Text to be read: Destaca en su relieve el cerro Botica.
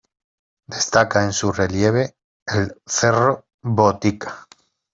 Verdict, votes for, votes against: accepted, 3, 2